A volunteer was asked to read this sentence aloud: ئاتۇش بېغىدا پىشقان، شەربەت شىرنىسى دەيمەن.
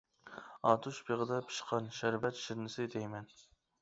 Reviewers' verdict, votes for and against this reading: accepted, 2, 0